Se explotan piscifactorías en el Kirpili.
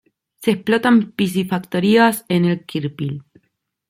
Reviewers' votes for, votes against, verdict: 0, 2, rejected